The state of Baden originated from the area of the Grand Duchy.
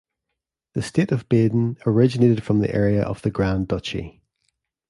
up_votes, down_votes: 2, 0